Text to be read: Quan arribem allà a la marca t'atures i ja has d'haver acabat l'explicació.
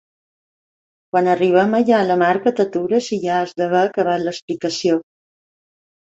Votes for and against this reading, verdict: 2, 0, accepted